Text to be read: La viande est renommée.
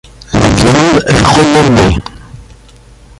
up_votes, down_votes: 1, 2